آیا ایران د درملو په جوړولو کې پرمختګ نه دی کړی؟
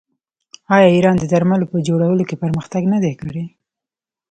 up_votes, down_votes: 2, 0